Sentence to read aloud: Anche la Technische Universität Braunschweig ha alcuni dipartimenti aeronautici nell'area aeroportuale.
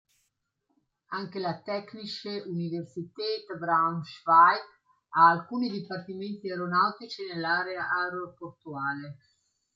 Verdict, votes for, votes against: accepted, 2, 0